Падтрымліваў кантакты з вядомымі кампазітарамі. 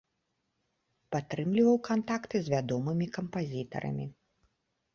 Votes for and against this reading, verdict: 2, 0, accepted